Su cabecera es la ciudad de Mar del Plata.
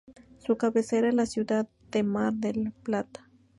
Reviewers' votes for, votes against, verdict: 2, 2, rejected